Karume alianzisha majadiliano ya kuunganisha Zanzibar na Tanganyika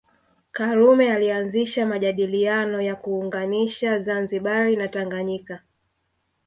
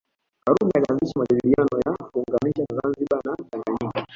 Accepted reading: first